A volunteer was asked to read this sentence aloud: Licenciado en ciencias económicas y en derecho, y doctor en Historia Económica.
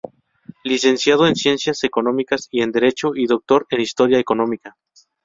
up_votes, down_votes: 4, 0